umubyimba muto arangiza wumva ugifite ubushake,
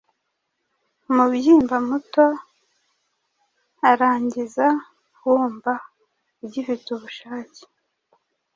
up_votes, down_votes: 2, 0